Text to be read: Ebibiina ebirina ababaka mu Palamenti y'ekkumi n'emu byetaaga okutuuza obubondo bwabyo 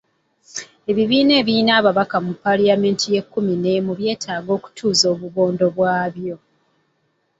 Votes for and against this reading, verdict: 2, 1, accepted